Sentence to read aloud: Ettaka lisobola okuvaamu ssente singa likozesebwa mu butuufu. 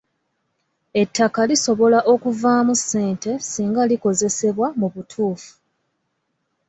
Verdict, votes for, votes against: accepted, 2, 0